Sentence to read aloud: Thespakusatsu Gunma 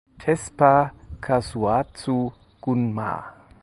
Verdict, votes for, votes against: rejected, 2, 4